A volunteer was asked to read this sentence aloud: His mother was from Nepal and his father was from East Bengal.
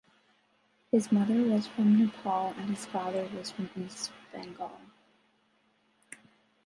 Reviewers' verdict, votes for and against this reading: rejected, 1, 2